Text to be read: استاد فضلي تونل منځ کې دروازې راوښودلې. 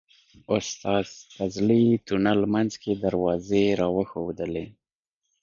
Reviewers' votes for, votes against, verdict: 2, 1, accepted